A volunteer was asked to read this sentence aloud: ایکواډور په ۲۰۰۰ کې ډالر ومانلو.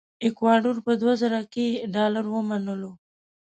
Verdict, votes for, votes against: rejected, 0, 2